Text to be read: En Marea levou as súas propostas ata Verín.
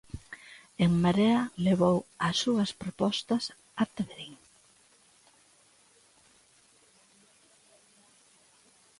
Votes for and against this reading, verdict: 2, 0, accepted